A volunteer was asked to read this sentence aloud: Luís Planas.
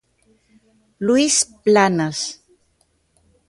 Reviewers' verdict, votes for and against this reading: accepted, 2, 0